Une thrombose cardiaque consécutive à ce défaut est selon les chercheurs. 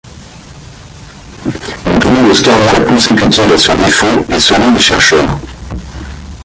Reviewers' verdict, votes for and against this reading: rejected, 1, 2